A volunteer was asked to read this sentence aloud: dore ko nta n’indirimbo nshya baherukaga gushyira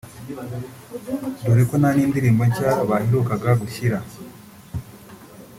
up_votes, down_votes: 0, 2